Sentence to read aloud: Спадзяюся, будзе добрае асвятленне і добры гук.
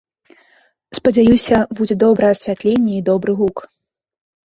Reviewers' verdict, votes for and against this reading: accepted, 2, 1